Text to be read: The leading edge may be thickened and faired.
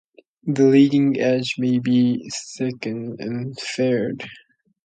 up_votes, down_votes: 2, 0